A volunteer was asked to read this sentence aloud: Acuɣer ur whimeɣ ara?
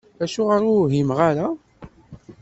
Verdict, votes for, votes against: accepted, 2, 0